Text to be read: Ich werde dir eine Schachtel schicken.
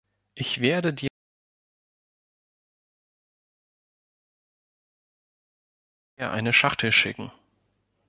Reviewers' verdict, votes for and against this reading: rejected, 0, 2